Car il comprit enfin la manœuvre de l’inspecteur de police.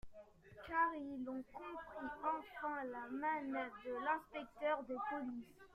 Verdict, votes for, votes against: rejected, 1, 2